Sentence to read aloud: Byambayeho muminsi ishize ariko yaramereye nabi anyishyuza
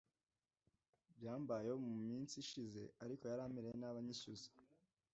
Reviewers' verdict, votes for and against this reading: accepted, 2, 0